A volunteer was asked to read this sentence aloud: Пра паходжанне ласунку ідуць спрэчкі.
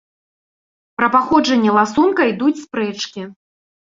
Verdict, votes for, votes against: rejected, 1, 2